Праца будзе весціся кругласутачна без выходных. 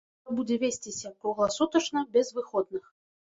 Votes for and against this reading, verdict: 0, 2, rejected